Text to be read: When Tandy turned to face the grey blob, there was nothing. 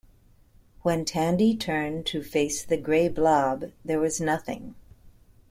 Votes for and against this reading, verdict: 2, 0, accepted